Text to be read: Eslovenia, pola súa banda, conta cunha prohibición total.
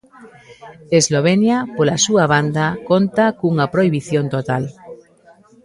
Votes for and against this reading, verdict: 2, 1, accepted